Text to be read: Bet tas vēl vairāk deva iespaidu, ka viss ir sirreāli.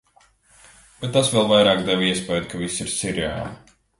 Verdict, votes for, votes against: rejected, 1, 2